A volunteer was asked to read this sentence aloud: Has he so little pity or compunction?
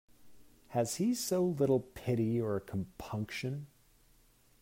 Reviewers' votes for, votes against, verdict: 2, 0, accepted